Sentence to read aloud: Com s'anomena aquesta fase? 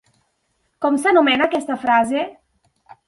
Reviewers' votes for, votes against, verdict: 0, 3, rejected